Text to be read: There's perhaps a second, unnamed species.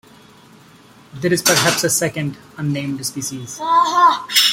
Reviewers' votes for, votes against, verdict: 2, 0, accepted